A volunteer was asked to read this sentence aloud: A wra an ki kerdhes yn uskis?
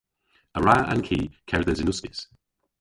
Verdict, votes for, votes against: rejected, 0, 2